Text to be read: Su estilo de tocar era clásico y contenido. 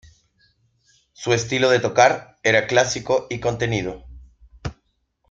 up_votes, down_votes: 2, 0